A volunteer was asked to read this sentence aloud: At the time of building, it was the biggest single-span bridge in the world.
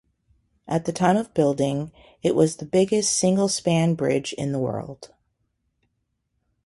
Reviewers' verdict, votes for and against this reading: accepted, 2, 0